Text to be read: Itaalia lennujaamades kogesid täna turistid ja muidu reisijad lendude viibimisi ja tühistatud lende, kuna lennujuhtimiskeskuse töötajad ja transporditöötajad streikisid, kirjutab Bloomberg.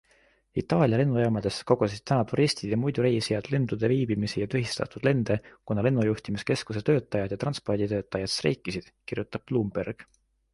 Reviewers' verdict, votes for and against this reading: accepted, 2, 0